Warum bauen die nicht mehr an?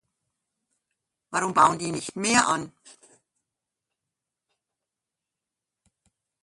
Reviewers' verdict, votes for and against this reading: accepted, 2, 0